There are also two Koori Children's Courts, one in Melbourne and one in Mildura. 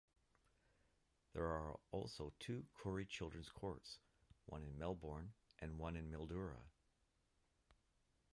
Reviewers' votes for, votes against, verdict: 1, 2, rejected